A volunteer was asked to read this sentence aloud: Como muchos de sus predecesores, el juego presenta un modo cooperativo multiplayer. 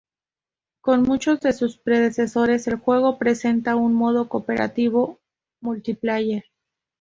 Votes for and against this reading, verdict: 2, 0, accepted